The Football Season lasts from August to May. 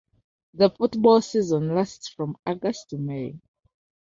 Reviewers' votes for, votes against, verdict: 2, 1, accepted